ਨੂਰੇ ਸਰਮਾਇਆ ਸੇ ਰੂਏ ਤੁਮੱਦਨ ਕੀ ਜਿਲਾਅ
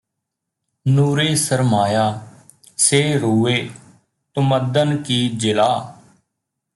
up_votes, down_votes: 2, 0